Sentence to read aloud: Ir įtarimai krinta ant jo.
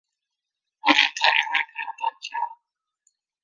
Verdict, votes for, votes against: rejected, 0, 2